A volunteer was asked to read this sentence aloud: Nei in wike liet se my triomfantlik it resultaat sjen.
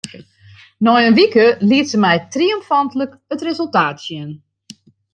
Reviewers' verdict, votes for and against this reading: accepted, 2, 0